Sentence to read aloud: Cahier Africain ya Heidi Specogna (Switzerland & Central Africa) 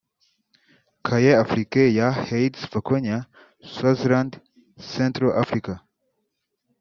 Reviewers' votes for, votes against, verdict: 1, 2, rejected